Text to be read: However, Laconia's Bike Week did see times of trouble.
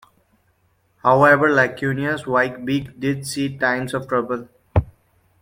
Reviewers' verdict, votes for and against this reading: rejected, 1, 2